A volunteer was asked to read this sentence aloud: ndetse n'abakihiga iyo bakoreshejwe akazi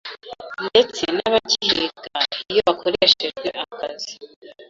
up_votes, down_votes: 2, 1